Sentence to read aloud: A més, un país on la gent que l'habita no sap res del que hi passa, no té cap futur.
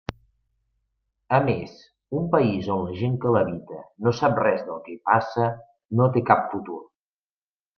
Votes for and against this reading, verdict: 2, 0, accepted